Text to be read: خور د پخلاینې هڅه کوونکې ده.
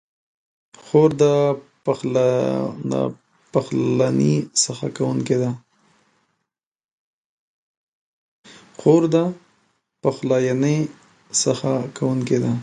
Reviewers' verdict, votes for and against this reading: rejected, 0, 3